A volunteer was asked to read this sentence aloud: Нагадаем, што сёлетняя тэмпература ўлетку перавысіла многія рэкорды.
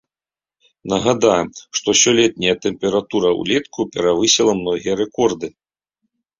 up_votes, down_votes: 3, 0